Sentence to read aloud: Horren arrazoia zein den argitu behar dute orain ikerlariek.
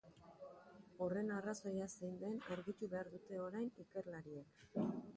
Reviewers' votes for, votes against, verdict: 2, 1, accepted